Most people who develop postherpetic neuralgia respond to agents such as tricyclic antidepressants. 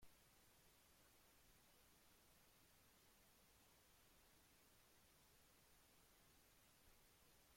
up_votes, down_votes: 0, 3